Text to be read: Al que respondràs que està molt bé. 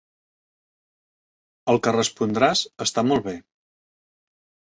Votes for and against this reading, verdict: 0, 2, rejected